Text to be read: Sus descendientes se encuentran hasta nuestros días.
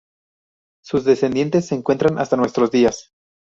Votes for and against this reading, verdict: 0, 2, rejected